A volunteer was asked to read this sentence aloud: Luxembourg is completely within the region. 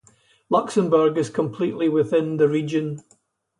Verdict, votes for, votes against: accepted, 2, 0